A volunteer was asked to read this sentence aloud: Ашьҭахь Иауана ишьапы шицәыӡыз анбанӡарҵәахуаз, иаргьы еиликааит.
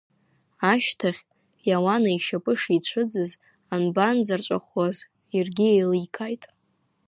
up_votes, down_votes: 0, 2